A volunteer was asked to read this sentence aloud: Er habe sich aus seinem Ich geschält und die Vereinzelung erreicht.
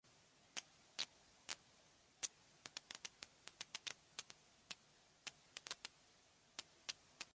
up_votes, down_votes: 0, 2